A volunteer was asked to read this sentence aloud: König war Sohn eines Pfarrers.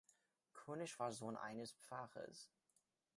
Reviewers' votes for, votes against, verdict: 1, 2, rejected